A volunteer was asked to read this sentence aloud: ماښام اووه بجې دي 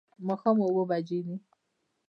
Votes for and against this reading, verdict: 3, 0, accepted